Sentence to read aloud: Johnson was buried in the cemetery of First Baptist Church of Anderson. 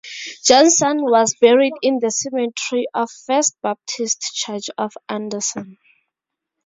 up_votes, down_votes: 2, 0